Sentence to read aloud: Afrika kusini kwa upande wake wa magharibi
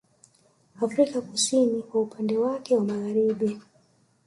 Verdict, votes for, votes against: accepted, 3, 0